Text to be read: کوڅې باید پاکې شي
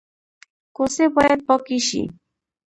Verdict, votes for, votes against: accepted, 2, 0